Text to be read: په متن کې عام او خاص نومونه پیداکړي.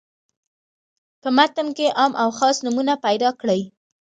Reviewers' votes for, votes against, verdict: 2, 0, accepted